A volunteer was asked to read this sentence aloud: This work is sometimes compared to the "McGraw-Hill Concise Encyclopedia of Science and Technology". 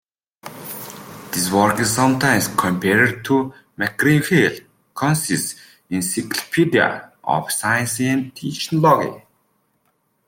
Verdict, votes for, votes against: rejected, 1, 2